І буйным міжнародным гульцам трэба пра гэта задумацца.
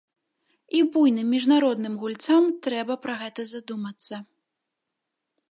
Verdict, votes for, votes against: rejected, 1, 2